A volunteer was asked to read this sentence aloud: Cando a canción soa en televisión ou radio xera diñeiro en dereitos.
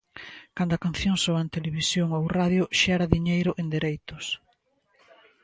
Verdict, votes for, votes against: accepted, 2, 0